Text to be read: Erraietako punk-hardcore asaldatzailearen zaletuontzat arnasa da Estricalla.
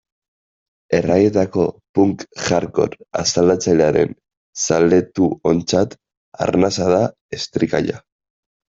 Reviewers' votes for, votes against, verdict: 2, 1, accepted